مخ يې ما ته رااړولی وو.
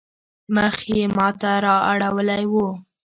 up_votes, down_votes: 2, 0